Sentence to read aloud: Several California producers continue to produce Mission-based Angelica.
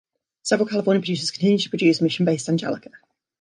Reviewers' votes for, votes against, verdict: 1, 2, rejected